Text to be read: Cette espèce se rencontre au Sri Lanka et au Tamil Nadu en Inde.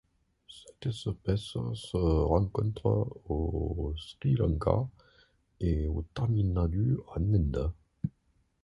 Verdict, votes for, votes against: rejected, 1, 2